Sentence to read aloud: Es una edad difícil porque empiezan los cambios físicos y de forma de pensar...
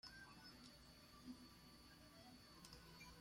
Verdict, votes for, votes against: rejected, 0, 2